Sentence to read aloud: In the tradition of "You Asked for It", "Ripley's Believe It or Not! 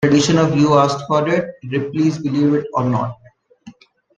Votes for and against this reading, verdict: 0, 2, rejected